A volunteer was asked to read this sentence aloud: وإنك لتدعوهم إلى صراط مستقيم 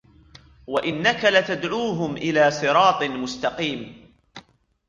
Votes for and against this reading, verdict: 3, 1, accepted